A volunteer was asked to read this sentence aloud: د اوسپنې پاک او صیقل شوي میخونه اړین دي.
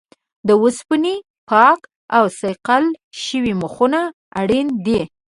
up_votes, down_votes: 1, 2